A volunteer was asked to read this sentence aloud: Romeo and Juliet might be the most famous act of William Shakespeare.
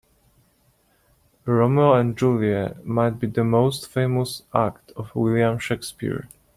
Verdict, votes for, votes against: rejected, 1, 2